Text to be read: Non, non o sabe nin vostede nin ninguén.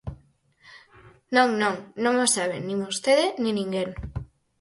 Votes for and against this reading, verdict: 0, 4, rejected